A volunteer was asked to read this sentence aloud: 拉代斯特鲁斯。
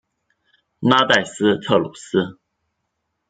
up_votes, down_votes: 1, 2